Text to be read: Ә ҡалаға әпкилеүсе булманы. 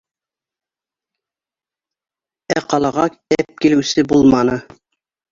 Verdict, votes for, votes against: rejected, 1, 2